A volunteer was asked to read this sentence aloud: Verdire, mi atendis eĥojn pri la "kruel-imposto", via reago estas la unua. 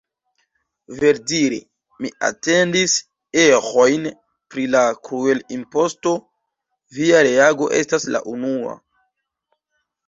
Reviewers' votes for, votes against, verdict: 1, 2, rejected